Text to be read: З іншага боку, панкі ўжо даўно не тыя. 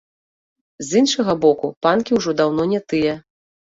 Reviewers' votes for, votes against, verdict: 2, 0, accepted